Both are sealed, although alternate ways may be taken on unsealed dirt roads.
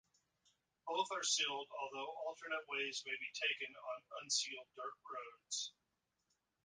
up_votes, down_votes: 0, 2